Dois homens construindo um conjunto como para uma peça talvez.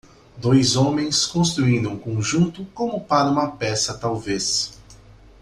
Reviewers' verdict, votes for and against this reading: accepted, 2, 0